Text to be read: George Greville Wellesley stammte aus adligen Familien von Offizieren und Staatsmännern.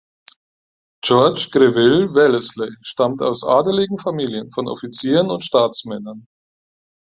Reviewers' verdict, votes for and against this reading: rejected, 0, 4